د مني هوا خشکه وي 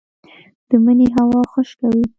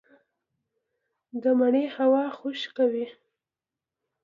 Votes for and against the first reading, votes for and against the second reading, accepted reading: 1, 2, 2, 0, second